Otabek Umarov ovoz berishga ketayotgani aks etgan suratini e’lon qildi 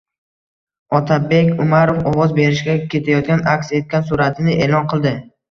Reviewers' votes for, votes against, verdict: 2, 1, accepted